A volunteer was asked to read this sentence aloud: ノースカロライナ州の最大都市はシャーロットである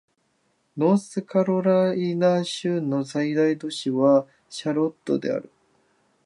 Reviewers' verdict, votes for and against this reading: rejected, 1, 2